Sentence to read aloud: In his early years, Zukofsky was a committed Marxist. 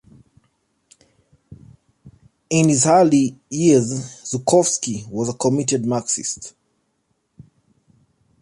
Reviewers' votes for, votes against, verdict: 2, 0, accepted